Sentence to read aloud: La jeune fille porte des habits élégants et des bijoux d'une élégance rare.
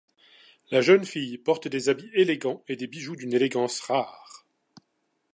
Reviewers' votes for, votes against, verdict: 2, 0, accepted